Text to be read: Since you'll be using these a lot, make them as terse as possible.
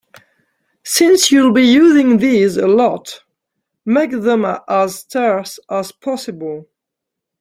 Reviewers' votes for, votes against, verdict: 2, 0, accepted